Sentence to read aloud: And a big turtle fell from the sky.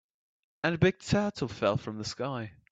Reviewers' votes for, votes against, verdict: 2, 0, accepted